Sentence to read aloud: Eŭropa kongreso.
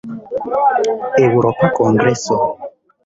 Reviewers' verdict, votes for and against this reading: rejected, 1, 2